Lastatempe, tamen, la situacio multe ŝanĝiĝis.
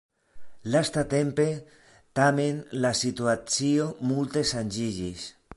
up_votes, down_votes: 1, 2